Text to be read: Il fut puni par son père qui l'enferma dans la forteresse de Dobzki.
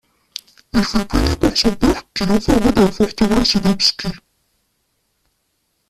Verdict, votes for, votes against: rejected, 0, 2